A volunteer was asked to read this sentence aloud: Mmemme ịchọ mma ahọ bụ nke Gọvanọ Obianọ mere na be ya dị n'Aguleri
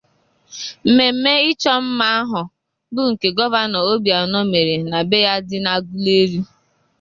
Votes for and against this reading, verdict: 0, 2, rejected